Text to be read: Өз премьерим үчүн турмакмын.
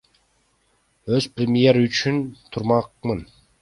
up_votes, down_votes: 1, 2